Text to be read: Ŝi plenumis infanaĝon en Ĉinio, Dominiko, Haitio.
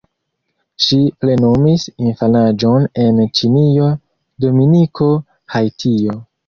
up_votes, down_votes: 2, 0